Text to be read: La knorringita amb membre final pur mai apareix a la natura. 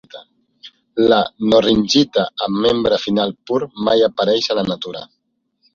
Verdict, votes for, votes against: accepted, 2, 0